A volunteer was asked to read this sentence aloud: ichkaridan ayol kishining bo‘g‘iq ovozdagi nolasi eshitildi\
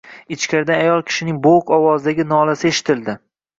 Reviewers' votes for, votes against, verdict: 0, 2, rejected